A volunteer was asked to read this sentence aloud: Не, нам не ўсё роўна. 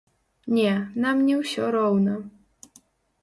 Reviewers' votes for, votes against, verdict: 1, 2, rejected